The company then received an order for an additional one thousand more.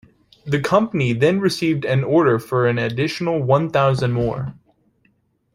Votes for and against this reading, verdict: 2, 0, accepted